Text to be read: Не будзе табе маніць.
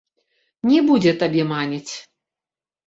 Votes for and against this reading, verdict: 2, 1, accepted